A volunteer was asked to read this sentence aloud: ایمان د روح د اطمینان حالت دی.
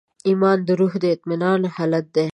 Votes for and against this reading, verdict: 2, 0, accepted